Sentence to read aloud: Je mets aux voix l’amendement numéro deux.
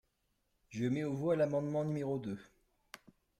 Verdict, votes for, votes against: accepted, 2, 0